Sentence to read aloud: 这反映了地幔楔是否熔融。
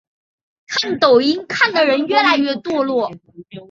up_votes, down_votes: 1, 3